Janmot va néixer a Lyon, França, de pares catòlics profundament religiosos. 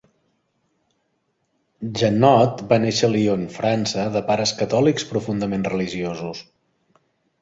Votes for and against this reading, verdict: 1, 2, rejected